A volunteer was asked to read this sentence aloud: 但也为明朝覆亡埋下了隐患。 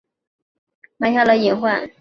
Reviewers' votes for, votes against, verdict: 0, 2, rejected